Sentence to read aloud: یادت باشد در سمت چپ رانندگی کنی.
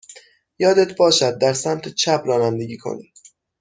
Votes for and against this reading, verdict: 6, 0, accepted